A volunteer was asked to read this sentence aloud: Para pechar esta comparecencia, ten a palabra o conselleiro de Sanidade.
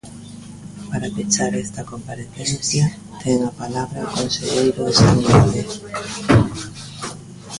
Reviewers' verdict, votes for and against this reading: rejected, 1, 2